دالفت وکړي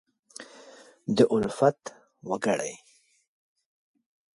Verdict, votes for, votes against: accepted, 2, 0